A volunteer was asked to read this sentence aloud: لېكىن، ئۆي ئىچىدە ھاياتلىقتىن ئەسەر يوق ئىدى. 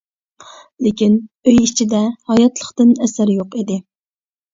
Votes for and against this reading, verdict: 2, 0, accepted